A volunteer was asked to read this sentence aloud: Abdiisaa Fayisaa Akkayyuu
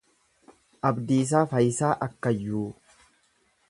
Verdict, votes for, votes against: accepted, 2, 0